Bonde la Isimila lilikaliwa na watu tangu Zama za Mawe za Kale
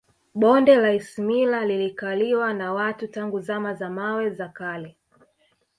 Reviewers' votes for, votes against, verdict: 1, 2, rejected